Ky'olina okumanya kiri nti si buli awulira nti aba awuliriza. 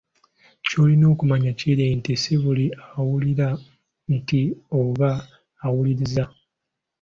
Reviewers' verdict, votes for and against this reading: rejected, 1, 3